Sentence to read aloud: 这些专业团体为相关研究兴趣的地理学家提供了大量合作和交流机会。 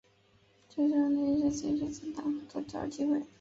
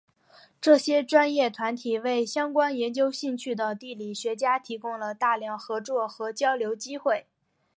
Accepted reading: second